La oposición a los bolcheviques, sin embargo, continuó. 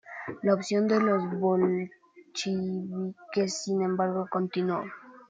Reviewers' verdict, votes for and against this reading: rejected, 0, 2